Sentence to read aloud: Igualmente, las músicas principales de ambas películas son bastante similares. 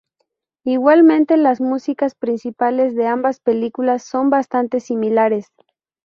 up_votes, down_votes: 0, 2